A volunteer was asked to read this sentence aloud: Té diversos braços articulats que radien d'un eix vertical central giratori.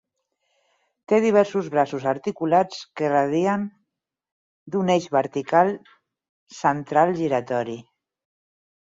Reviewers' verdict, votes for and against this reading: rejected, 2, 4